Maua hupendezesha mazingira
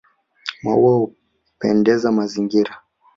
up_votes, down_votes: 2, 0